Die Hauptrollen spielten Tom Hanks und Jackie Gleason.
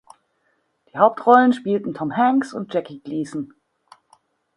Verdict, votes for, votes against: accepted, 2, 1